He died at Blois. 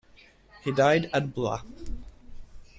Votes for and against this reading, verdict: 1, 2, rejected